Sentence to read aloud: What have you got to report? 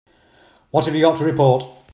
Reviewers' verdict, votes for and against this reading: accepted, 2, 0